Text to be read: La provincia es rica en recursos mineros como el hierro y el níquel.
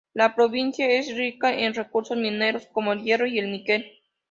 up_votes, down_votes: 2, 0